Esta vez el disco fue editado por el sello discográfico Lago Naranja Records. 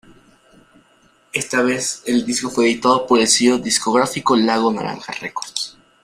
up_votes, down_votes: 2, 0